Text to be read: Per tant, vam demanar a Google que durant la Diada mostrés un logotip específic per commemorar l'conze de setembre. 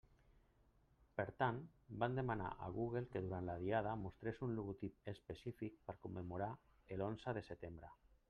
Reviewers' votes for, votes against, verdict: 0, 2, rejected